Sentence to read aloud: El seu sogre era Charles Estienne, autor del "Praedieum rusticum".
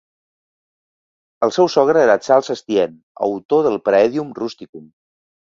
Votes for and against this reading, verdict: 3, 0, accepted